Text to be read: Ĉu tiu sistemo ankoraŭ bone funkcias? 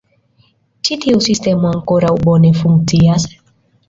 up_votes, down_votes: 2, 1